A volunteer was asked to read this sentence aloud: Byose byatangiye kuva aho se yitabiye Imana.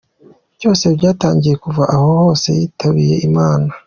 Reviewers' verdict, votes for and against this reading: accepted, 2, 0